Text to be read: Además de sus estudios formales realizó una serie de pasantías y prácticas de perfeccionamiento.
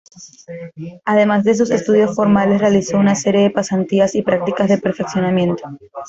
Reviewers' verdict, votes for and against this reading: rejected, 1, 2